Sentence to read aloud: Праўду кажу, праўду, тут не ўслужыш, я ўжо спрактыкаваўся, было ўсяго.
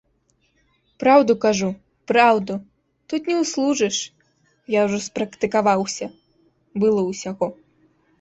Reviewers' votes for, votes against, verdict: 2, 0, accepted